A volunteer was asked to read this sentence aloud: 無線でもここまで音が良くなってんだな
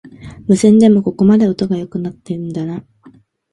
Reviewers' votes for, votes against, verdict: 3, 0, accepted